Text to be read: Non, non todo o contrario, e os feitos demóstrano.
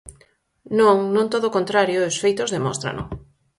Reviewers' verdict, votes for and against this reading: accepted, 4, 0